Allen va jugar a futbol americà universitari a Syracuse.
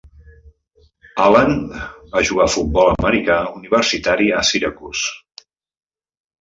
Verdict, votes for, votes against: accepted, 2, 0